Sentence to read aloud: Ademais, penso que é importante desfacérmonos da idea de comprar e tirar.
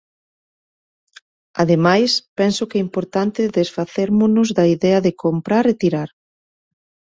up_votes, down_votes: 2, 0